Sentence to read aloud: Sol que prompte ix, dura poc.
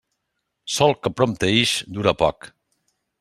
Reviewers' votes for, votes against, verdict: 2, 0, accepted